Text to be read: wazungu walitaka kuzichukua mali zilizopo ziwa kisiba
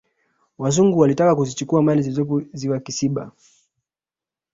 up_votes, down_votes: 1, 2